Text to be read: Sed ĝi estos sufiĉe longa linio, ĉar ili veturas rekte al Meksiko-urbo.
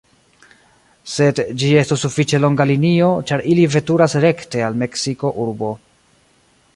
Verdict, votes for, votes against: accepted, 2, 0